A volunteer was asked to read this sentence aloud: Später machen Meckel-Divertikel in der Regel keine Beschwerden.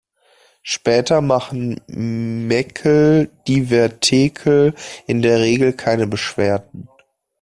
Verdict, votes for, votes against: rejected, 0, 2